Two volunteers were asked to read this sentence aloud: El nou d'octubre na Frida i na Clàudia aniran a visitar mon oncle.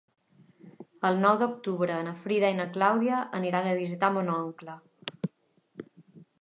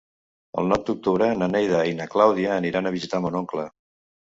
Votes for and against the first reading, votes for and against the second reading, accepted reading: 5, 0, 1, 2, first